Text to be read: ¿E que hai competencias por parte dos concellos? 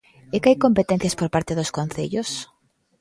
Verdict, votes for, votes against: accepted, 2, 0